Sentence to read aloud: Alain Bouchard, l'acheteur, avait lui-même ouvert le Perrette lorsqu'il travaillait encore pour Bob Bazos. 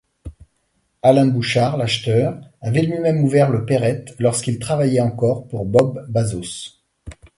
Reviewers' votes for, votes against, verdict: 2, 0, accepted